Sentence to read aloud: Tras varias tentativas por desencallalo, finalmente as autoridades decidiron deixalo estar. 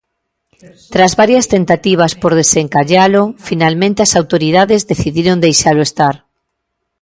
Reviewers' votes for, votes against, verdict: 2, 0, accepted